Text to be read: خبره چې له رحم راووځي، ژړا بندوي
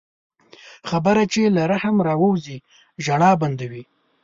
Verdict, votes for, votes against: accepted, 3, 0